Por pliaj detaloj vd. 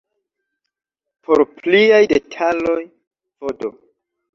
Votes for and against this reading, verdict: 1, 2, rejected